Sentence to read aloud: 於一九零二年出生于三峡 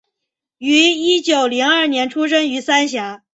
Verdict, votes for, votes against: accepted, 3, 0